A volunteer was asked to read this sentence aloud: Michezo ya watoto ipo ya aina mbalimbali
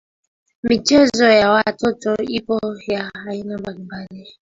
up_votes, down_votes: 2, 1